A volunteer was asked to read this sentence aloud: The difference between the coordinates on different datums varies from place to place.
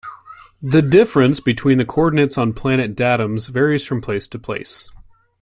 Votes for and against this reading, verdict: 1, 2, rejected